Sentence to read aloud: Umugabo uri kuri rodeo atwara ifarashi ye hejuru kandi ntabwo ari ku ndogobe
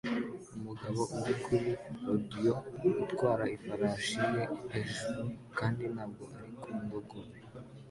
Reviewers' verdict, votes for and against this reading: rejected, 1, 2